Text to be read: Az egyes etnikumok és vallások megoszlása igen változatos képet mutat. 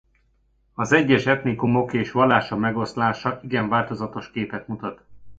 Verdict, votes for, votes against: rejected, 1, 2